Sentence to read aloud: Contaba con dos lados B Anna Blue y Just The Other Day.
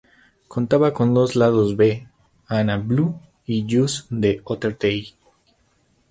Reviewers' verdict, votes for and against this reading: rejected, 2, 2